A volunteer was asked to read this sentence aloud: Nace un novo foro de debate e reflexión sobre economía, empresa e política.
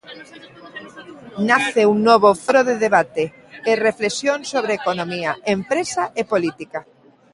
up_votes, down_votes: 1, 6